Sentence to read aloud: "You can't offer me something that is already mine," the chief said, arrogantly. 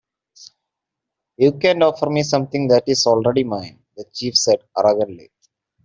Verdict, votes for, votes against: rejected, 1, 2